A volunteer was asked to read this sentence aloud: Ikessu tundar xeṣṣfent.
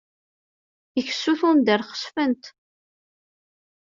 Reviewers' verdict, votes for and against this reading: accepted, 2, 1